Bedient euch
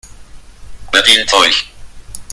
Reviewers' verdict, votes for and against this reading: rejected, 1, 2